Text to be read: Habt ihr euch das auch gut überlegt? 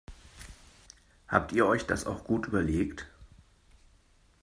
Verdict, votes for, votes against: accepted, 2, 0